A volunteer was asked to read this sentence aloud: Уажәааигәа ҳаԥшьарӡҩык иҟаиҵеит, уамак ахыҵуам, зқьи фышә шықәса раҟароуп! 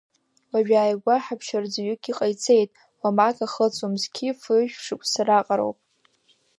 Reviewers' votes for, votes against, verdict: 1, 2, rejected